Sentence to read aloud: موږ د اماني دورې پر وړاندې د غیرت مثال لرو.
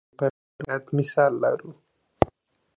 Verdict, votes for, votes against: rejected, 0, 2